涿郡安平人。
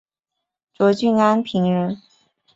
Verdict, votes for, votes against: rejected, 0, 2